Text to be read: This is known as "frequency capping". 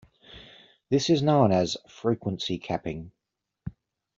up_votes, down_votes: 2, 0